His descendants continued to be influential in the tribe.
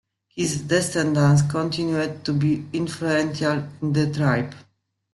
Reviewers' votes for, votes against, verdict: 2, 0, accepted